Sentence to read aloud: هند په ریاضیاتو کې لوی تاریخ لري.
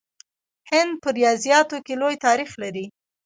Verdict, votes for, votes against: rejected, 0, 2